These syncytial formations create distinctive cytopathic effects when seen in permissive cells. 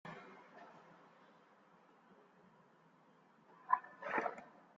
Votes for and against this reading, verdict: 0, 2, rejected